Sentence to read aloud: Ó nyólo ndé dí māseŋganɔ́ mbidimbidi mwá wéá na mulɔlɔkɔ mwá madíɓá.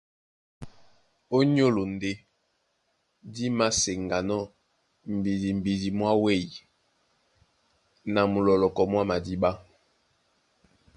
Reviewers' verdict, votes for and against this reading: accepted, 2, 0